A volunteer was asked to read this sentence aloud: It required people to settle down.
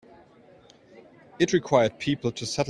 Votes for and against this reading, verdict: 0, 2, rejected